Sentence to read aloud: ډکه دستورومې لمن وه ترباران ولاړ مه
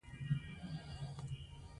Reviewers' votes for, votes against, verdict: 2, 0, accepted